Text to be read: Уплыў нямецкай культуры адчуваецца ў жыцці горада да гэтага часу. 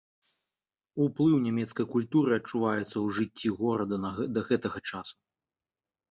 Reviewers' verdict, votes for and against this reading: rejected, 0, 2